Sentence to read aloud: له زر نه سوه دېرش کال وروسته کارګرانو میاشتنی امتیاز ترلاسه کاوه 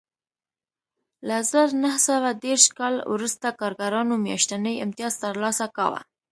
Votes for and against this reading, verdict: 2, 0, accepted